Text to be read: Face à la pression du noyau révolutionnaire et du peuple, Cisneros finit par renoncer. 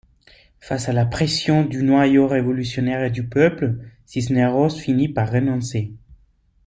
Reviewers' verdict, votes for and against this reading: accepted, 2, 0